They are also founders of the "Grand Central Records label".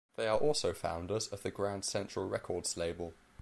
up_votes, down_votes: 2, 0